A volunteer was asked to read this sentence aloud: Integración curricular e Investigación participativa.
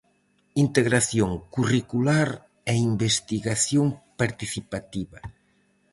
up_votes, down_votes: 4, 0